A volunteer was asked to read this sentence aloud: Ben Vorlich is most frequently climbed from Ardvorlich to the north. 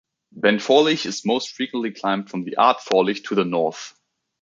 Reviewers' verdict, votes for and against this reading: rejected, 0, 2